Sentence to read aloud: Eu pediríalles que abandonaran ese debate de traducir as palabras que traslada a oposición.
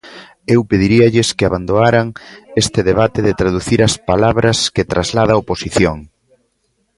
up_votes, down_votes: 0, 2